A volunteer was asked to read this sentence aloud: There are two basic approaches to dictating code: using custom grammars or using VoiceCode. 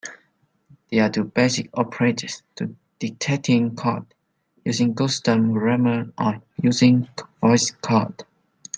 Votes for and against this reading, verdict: 2, 3, rejected